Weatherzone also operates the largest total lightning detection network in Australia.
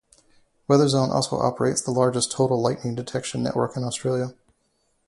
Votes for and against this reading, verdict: 2, 0, accepted